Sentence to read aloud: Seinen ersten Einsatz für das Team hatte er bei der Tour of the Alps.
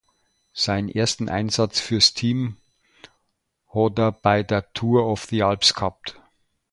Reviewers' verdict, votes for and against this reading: rejected, 0, 2